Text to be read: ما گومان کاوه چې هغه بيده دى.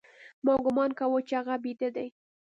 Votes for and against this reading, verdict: 2, 0, accepted